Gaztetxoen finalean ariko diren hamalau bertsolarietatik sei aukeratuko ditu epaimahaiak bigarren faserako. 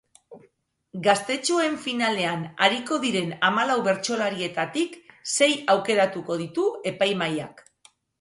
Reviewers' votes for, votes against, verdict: 0, 3, rejected